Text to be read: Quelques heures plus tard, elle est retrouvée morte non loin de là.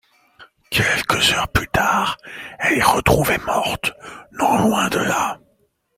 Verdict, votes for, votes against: rejected, 0, 2